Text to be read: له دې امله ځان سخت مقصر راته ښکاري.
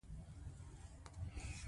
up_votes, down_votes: 2, 0